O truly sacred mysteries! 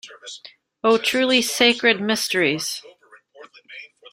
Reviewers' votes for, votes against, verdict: 3, 0, accepted